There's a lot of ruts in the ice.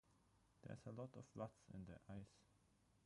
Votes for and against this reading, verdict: 0, 3, rejected